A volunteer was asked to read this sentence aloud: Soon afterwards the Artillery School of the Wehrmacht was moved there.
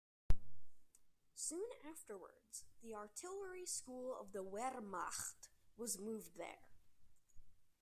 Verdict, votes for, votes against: accepted, 2, 1